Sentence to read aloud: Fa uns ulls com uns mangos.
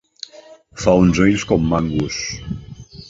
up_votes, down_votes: 0, 2